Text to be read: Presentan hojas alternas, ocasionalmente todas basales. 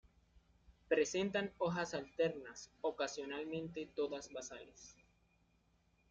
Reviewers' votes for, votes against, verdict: 2, 0, accepted